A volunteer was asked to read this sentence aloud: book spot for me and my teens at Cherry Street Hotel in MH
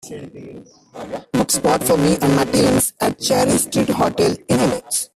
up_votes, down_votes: 2, 1